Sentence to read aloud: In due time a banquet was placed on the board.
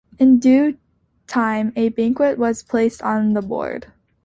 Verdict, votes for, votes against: accepted, 2, 0